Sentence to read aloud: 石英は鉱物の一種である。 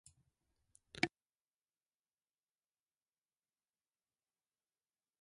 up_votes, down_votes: 2, 1